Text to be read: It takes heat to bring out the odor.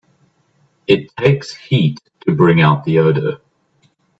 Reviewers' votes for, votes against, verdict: 1, 3, rejected